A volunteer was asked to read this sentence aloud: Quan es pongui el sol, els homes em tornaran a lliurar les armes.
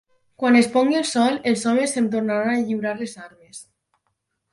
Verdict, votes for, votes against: rejected, 2, 6